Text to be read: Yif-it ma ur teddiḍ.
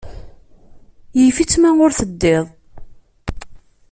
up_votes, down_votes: 1, 2